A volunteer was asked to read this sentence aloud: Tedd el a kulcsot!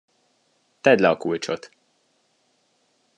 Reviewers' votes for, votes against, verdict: 1, 2, rejected